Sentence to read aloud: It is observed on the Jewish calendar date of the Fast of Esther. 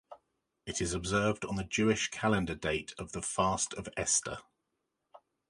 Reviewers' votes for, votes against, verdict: 2, 0, accepted